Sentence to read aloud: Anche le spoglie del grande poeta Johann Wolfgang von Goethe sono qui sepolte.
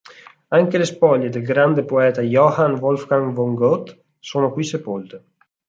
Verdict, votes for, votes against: rejected, 2, 4